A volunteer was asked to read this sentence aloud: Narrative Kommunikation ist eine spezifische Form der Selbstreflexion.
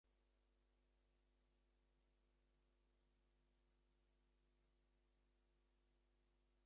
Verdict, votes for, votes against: rejected, 0, 2